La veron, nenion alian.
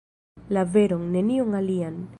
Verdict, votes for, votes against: accepted, 2, 0